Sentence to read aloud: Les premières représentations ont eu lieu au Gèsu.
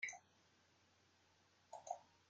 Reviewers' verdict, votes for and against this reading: rejected, 0, 2